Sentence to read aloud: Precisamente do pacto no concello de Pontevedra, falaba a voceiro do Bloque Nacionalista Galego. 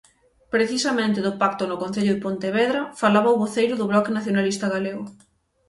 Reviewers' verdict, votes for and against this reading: accepted, 3, 0